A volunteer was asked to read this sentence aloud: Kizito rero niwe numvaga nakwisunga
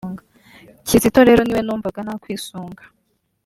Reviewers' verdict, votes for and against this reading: accepted, 2, 0